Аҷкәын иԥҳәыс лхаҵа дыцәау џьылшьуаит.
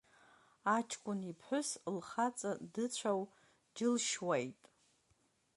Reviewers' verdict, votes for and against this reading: rejected, 1, 2